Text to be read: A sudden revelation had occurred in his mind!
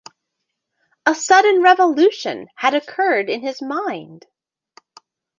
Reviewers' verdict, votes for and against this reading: rejected, 0, 2